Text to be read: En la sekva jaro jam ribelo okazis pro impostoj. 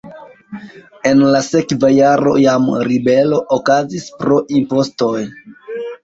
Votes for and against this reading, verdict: 1, 2, rejected